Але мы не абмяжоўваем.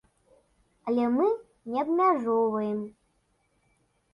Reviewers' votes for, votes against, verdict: 2, 0, accepted